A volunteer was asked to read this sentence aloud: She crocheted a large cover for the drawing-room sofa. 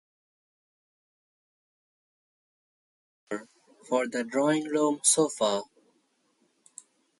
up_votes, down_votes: 0, 6